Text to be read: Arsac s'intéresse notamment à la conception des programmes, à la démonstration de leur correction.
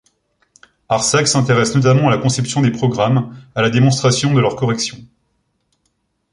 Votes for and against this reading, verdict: 2, 0, accepted